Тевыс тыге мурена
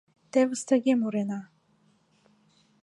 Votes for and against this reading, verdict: 4, 0, accepted